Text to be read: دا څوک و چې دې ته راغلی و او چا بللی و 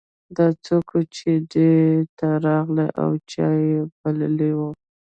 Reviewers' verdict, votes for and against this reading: rejected, 1, 2